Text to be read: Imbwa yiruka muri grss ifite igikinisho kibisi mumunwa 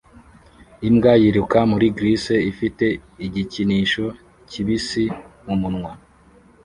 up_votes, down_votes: 2, 0